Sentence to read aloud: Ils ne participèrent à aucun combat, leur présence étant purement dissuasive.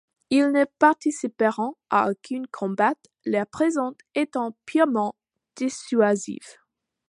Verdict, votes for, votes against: rejected, 1, 2